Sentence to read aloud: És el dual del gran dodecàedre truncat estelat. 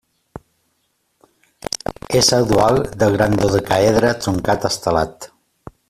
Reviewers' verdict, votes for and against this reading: rejected, 1, 2